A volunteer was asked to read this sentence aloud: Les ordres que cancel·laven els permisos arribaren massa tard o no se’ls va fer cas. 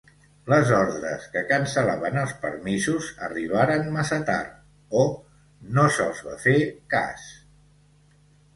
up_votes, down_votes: 2, 0